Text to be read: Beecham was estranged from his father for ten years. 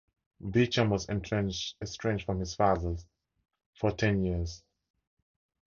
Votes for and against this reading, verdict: 0, 4, rejected